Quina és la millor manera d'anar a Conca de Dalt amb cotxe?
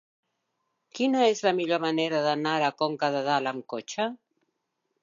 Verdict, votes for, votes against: accepted, 3, 0